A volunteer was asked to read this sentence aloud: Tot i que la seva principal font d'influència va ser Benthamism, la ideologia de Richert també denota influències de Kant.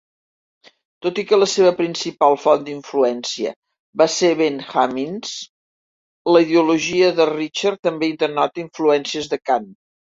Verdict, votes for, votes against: rejected, 0, 2